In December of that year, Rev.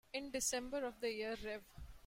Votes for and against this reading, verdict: 2, 1, accepted